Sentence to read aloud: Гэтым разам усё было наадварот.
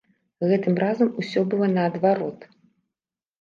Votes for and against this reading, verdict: 1, 2, rejected